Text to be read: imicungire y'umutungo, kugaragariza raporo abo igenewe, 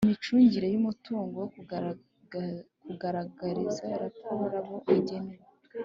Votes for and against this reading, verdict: 1, 2, rejected